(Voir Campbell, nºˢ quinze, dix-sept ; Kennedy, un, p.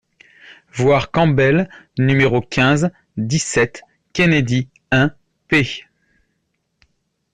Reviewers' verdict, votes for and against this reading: accepted, 2, 0